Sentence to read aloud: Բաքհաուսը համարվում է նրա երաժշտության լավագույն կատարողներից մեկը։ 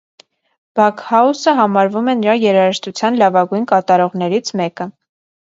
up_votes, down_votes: 2, 0